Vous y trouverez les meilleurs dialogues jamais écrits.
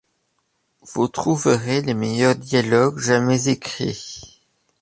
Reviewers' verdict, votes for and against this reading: rejected, 0, 2